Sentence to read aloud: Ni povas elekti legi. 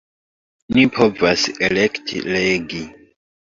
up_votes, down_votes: 1, 2